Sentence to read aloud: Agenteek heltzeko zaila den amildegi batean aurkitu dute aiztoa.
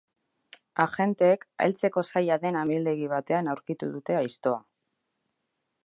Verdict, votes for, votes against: accepted, 2, 0